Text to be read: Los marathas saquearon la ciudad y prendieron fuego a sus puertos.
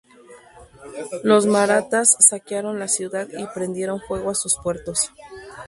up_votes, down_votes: 2, 2